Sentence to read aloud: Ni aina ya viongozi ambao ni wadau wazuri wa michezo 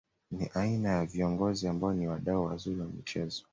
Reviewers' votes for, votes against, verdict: 2, 0, accepted